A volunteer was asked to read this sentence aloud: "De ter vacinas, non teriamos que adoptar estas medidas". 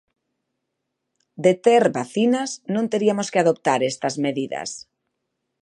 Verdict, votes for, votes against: rejected, 0, 2